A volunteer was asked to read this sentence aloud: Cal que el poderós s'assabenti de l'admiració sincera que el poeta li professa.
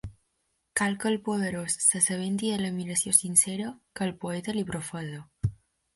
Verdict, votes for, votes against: accepted, 2, 0